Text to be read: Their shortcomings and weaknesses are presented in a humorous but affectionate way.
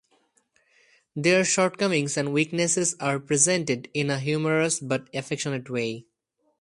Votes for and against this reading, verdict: 2, 0, accepted